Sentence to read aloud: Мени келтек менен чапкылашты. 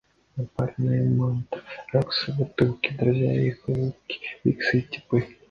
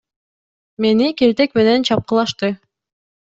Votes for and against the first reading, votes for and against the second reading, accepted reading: 0, 2, 2, 0, second